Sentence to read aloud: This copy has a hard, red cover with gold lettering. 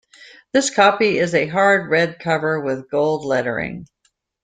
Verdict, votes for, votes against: rejected, 0, 2